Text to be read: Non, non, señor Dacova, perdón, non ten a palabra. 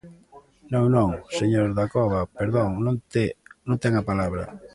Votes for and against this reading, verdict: 0, 2, rejected